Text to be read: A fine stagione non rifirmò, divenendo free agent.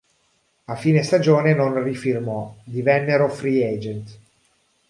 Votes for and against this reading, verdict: 0, 2, rejected